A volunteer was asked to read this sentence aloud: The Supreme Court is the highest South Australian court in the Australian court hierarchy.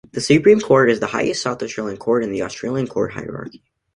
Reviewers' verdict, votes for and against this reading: accepted, 2, 0